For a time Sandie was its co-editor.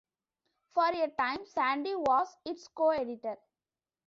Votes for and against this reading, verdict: 2, 1, accepted